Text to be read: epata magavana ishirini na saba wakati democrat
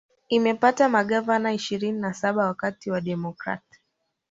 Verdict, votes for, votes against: rejected, 1, 2